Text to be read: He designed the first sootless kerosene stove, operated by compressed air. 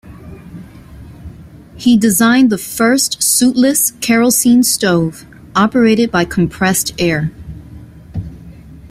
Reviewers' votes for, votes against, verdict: 1, 2, rejected